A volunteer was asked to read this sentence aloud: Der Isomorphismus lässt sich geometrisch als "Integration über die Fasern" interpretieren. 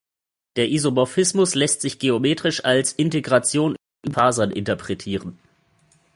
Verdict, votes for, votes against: rejected, 0, 2